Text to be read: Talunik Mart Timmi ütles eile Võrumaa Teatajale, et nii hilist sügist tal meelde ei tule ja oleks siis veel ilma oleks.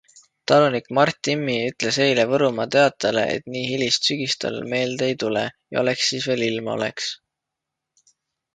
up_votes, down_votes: 2, 0